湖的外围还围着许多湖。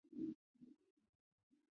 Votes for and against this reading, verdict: 0, 3, rejected